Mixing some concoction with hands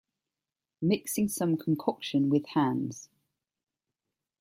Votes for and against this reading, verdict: 2, 0, accepted